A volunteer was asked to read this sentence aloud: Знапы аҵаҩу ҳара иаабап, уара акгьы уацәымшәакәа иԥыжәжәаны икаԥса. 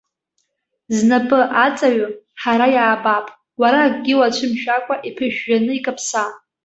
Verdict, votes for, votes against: accepted, 2, 0